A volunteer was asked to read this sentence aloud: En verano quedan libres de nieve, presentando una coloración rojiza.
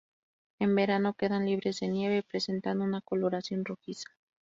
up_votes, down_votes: 2, 0